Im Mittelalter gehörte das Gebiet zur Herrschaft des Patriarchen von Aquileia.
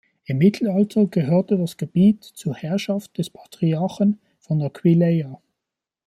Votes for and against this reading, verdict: 0, 2, rejected